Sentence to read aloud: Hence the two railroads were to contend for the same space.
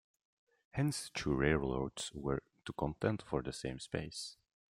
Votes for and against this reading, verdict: 2, 1, accepted